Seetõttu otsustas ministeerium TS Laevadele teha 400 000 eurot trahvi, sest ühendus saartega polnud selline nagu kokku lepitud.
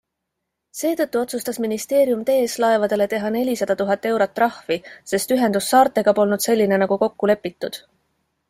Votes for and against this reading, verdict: 0, 2, rejected